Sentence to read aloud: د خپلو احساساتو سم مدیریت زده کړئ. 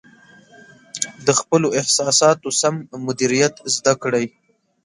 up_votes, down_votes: 2, 0